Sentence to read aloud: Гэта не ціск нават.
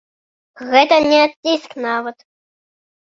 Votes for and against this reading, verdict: 1, 2, rejected